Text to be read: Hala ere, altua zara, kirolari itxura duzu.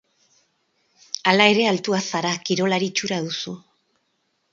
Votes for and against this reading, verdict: 6, 0, accepted